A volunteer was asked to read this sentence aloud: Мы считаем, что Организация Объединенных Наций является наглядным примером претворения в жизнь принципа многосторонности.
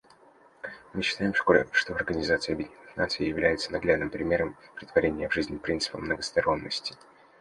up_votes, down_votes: 0, 2